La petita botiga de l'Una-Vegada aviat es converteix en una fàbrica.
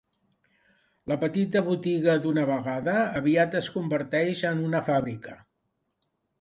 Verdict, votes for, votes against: rejected, 2, 3